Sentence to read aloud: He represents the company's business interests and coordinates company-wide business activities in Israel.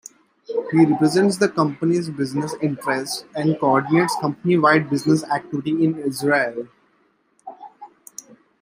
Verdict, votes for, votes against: accepted, 2, 0